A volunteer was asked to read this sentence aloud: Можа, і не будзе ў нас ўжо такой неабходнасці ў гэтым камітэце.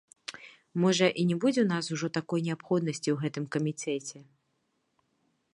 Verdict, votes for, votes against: rejected, 0, 2